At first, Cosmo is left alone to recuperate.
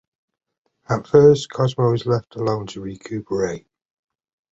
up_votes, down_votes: 2, 0